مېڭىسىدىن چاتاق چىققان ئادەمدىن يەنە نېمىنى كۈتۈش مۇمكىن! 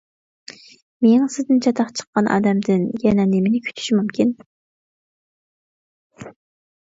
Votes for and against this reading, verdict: 2, 0, accepted